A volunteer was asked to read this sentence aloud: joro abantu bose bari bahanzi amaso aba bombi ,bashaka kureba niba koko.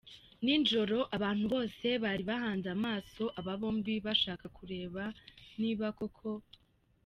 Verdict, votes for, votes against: rejected, 1, 2